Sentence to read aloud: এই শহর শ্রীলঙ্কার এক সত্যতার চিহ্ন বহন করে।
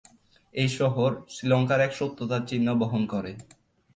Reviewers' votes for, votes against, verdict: 4, 0, accepted